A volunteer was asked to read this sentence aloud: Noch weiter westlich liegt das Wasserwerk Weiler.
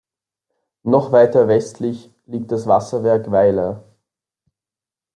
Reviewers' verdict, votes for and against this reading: accepted, 2, 0